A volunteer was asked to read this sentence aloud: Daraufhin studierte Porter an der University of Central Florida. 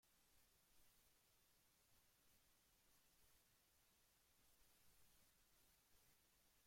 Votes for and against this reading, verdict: 0, 2, rejected